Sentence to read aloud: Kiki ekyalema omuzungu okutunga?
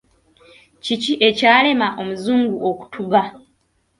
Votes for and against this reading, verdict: 0, 2, rejected